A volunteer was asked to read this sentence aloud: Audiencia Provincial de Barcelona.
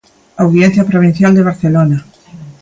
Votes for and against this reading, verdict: 2, 0, accepted